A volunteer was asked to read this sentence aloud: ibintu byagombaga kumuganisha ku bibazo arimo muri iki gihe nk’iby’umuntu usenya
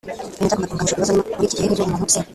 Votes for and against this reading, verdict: 0, 2, rejected